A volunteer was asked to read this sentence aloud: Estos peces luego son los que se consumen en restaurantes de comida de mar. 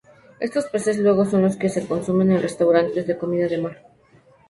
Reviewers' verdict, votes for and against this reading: accepted, 2, 0